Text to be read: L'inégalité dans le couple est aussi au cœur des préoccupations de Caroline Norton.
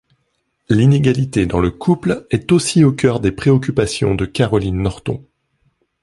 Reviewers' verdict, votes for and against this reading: accepted, 2, 0